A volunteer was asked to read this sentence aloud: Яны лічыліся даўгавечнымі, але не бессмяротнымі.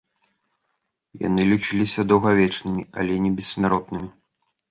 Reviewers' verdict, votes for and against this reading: accepted, 2, 0